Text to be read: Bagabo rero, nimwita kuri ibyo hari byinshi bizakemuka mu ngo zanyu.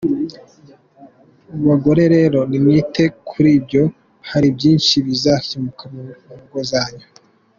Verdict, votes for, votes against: rejected, 1, 2